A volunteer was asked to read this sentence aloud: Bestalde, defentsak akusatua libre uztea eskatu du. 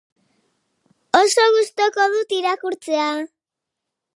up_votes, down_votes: 0, 2